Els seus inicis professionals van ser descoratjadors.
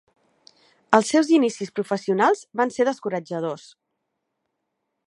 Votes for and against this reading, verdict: 2, 0, accepted